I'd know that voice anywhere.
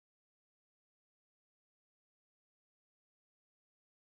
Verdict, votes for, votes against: rejected, 0, 2